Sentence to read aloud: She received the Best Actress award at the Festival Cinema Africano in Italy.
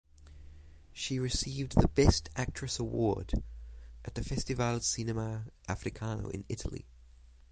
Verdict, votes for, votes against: rejected, 3, 3